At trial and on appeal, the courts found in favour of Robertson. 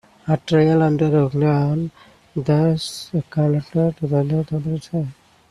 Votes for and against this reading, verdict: 0, 2, rejected